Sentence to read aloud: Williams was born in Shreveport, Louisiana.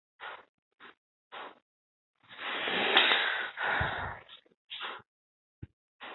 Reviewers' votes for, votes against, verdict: 0, 2, rejected